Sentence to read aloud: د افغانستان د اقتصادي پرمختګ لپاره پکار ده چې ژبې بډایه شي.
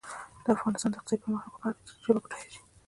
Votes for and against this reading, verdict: 1, 3, rejected